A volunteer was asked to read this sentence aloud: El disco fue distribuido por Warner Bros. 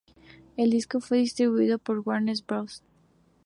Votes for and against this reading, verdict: 2, 0, accepted